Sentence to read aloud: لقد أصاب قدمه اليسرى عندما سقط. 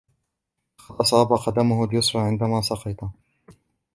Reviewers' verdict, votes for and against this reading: rejected, 1, 3